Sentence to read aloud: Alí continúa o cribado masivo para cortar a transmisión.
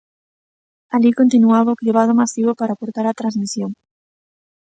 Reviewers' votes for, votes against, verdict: 0, 2, rejected